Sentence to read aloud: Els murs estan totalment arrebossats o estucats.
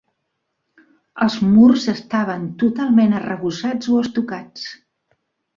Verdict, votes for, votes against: rejected, 1, 2